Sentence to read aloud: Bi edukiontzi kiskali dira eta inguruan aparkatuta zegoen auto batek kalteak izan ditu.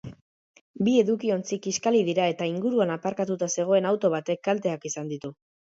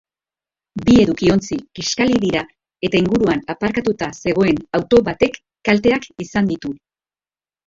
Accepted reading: first